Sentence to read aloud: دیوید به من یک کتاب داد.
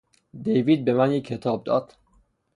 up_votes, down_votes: 3, 0